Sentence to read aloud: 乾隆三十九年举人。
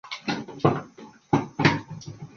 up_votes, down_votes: 1, 2